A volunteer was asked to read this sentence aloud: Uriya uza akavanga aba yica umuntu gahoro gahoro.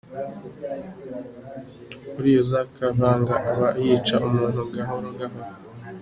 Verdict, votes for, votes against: accepted, 2, 0